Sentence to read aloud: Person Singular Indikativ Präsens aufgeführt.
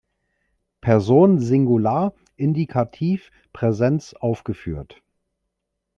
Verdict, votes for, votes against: rejected, 0, 2